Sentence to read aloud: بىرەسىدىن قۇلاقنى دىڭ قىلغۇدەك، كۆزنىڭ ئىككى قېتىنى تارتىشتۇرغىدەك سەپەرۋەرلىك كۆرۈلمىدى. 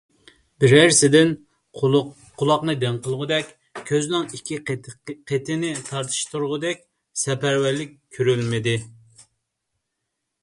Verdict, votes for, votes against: rejected, 1, 2